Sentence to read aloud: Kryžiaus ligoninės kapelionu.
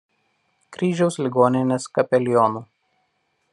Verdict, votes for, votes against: accepted, 2, 0